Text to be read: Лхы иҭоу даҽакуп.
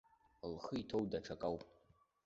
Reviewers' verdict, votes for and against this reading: rejected, 1, 2